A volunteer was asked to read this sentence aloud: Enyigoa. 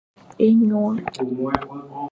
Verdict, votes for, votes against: rejected, 1, 2